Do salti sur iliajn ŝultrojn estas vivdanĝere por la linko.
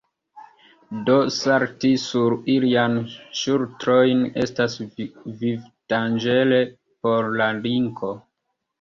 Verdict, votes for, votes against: rejected, 0, 2